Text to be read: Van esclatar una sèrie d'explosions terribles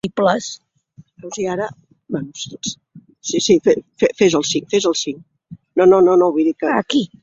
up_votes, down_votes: 0, 2